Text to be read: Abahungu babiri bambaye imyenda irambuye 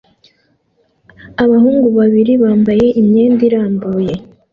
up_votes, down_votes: 2, 1